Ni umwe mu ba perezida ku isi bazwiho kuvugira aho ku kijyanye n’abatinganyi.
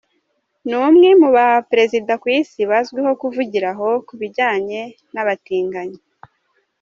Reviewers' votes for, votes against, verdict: 1, 2, rejected